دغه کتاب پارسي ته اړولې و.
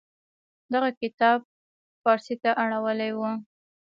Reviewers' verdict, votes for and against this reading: accepted, 2, 0